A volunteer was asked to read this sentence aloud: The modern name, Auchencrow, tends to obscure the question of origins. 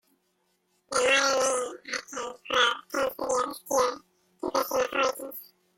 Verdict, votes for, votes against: rejected, 0, 2